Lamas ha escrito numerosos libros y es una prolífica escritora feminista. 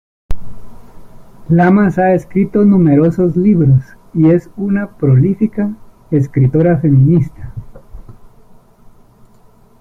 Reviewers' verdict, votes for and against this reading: accepted, 2, 0